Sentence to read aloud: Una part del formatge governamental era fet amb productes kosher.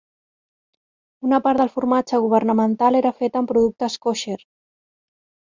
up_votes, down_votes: 3, 0